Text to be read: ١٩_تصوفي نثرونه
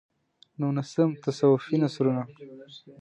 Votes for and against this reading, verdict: 0, 2, rejected